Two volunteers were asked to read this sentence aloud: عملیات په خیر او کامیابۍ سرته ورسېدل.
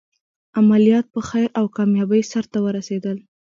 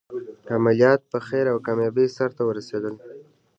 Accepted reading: second